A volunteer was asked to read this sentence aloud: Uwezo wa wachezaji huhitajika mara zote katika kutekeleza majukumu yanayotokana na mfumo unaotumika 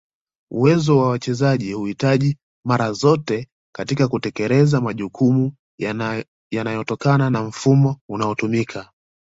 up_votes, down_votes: 1, 2